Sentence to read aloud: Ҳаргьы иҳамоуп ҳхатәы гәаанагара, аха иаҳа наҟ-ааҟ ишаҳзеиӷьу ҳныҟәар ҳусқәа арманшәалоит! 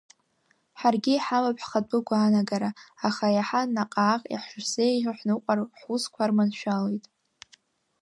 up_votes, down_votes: 0, 2